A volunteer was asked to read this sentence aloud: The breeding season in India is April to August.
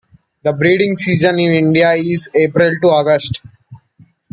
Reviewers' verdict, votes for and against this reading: accepted, 2, 0